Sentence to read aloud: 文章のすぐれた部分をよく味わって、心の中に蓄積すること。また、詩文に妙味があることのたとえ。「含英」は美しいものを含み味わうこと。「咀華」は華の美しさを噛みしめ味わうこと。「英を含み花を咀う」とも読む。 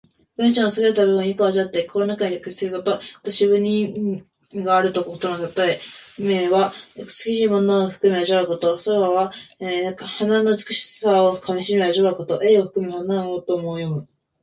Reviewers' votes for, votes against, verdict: 0, 2, rejected